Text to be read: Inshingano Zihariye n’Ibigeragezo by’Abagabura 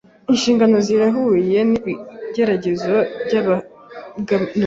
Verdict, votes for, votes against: rejected, 1, 3